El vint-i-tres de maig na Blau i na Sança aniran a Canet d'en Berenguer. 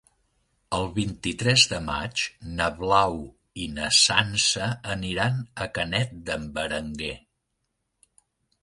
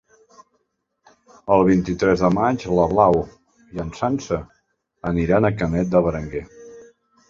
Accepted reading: first